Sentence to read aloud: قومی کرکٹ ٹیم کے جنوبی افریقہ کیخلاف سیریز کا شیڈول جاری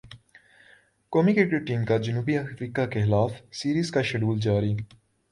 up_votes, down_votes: 2, 0